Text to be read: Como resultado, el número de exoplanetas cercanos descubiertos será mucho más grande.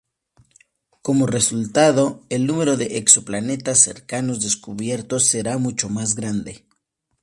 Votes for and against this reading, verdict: 2, 0, accepted